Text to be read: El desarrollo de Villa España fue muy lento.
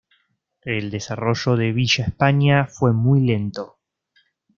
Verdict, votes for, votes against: accepted, 2, 0